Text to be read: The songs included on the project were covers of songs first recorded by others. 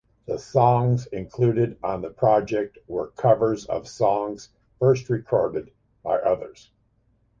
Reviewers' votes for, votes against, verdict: 2, 0, accepted